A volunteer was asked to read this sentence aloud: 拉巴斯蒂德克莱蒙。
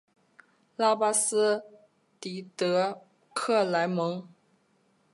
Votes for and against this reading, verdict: 2, 0, accepted